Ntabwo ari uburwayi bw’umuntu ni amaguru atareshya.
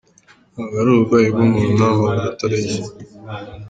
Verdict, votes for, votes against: accepted, 2, 1